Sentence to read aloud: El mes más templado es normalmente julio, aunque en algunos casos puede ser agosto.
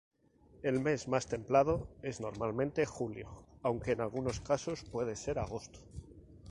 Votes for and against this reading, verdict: 2, 0, accepted